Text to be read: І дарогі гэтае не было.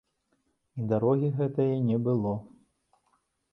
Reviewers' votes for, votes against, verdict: 2, 0, accepted